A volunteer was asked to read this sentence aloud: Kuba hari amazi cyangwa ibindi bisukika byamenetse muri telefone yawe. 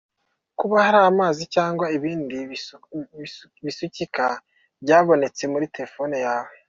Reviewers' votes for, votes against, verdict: 0, 2, rejected